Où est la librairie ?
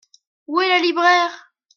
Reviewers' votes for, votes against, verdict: 0, 2, rejected